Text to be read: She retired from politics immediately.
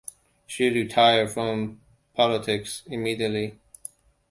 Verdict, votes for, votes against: accepted, 2, 0